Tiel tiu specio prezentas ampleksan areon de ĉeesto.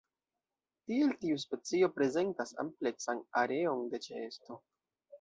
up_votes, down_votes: 1, 2